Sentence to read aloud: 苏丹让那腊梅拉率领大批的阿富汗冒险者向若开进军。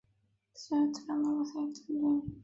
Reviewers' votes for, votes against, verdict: 1, 3, rejected